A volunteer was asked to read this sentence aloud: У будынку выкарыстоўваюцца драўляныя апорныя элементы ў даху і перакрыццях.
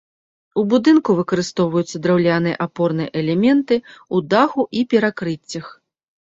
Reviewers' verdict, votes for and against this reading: rejected, 0, 2